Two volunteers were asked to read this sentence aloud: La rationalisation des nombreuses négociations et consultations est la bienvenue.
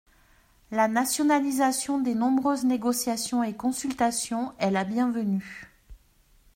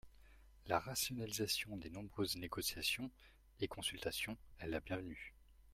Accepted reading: second